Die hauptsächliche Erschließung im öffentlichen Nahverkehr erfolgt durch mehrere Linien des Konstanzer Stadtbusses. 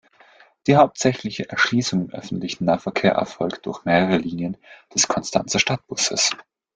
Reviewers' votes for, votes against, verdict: 2, 1, accepted